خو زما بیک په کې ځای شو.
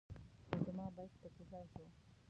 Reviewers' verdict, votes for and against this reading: rejected, 1, 2